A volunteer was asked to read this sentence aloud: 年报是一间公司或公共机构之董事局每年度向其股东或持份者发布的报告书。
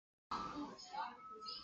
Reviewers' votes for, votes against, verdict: 0, 2, rejected